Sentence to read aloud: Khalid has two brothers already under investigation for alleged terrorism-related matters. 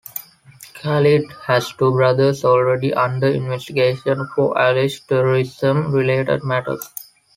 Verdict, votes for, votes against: accepted, 2, 1